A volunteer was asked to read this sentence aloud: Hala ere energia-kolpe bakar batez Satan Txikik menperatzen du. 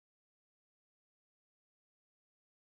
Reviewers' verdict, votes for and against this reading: rejected, 0, 3